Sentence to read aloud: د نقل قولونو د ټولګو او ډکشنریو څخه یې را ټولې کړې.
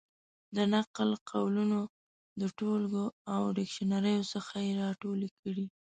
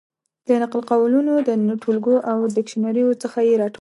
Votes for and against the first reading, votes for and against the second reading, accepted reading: 2, 1, 0, 2, first